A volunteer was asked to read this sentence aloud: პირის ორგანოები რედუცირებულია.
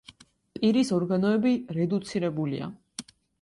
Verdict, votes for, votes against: accepted, 2, 0